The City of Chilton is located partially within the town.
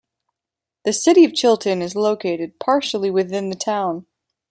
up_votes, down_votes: 0, 2